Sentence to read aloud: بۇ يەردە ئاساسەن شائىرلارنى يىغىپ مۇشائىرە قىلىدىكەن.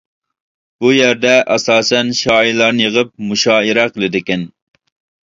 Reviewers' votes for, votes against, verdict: 2, 0, accepted